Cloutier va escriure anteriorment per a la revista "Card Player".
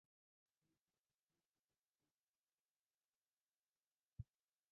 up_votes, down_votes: 0, 2